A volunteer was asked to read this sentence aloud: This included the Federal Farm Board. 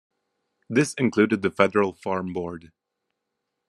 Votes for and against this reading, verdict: 2, 0, accepted